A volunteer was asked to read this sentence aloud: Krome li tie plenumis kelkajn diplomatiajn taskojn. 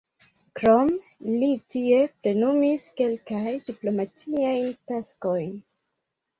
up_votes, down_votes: 1, 2